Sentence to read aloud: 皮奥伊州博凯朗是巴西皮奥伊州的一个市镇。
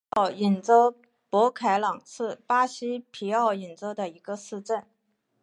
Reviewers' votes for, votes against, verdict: 1, 2, rejected